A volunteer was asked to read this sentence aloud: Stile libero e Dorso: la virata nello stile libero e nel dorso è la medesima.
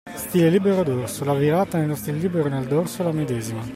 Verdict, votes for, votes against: accepted, 2, 0